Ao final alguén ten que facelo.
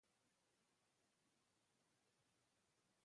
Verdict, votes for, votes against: rejected, 0, 2